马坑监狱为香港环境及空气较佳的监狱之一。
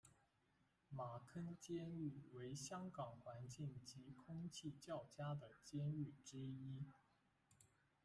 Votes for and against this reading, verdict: 0, 2, rejected